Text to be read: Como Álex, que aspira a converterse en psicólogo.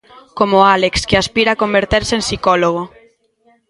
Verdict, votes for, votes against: rejected, 1, 2